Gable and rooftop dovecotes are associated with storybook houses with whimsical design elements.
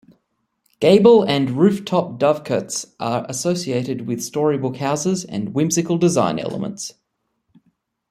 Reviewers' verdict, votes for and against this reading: rejected, 1, 2